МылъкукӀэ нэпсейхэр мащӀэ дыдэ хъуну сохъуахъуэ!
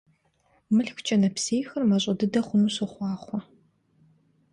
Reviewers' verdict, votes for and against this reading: accepted, 2, 0